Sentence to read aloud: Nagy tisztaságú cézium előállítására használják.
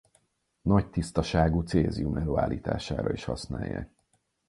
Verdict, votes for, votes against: rejected, 2, 4